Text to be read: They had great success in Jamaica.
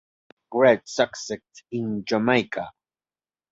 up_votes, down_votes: 0, 2